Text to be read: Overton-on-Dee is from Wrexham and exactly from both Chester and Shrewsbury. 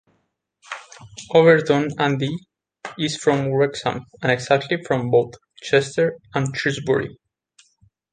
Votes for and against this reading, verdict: 1, 2, rejected